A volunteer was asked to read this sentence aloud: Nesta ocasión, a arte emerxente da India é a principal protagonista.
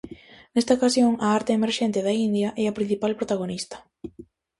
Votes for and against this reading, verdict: 4, 0, accepted